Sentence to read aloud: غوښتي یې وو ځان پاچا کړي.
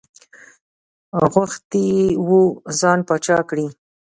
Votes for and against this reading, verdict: 2, 1, accepted